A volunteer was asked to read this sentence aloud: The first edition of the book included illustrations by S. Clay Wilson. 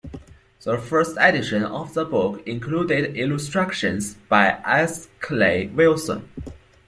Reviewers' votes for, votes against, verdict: 0, 2, rejected